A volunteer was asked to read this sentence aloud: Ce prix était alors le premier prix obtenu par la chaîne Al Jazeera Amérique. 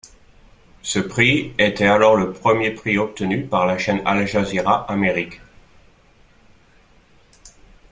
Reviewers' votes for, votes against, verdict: 2, 0, accepted